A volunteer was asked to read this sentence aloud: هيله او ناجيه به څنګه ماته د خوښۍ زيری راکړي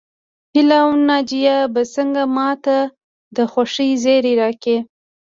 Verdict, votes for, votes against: accepted, 2, 1